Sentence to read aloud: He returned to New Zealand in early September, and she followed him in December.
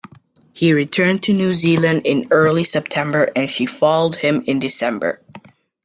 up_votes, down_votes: 2, 1